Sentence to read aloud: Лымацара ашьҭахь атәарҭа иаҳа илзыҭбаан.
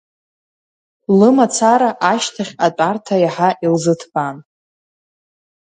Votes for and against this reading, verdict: 2, 0, accepted